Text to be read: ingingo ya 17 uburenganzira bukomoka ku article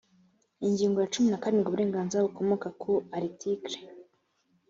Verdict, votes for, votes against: rejected, 0, 2